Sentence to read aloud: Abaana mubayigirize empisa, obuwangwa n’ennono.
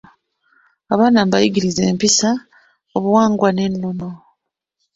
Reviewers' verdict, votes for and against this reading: accepted, 2, 0